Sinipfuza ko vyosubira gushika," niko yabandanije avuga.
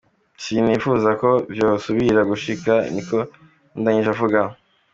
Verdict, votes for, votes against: accepted, 2, 0